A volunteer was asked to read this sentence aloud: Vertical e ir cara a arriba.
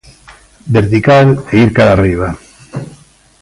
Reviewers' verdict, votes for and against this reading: accepted, 2, 0